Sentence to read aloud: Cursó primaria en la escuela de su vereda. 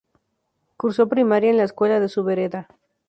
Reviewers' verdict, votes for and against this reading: accepted, 2, 0